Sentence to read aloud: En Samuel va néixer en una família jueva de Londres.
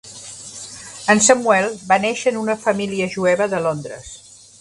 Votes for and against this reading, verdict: 3, 1, accepted